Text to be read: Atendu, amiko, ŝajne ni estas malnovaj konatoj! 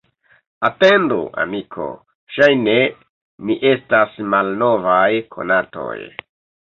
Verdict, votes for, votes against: rejected, 1, 2